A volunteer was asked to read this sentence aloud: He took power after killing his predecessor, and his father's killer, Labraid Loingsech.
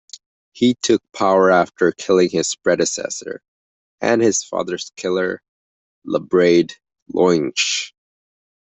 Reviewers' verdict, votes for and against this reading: rejected, 0, 2